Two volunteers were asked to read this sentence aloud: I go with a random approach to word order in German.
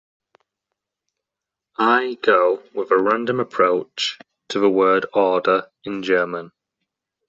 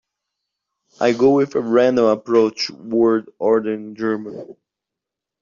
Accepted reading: first